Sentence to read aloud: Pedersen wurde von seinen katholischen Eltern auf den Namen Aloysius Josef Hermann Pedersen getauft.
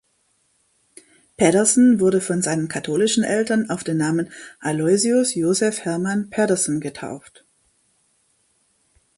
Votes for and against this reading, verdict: 2, 0, accepted